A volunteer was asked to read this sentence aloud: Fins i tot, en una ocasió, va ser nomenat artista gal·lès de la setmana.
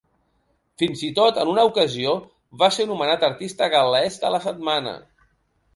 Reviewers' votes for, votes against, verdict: 2, 0, accepted